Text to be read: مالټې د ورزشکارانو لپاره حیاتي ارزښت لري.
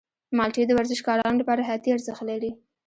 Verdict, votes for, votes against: rejected, 0, 2